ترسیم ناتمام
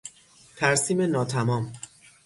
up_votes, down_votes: 6, 0